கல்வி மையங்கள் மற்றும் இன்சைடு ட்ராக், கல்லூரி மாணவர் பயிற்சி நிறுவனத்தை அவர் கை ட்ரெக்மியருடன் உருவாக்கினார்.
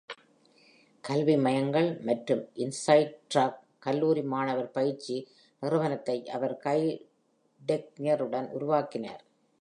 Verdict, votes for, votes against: rejected, 0, 2